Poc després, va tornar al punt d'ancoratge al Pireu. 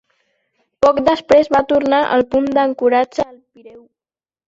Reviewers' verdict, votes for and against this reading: rejected, 2, 3